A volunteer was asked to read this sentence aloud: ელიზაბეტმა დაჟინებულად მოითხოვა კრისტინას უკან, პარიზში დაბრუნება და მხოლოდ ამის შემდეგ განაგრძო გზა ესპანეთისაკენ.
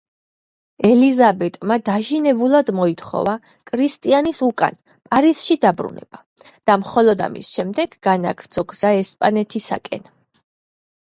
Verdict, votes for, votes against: rejected, 0, 2